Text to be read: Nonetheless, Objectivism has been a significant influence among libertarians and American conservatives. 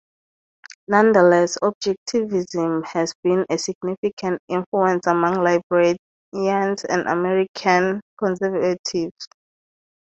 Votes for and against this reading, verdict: 0, 2, rejected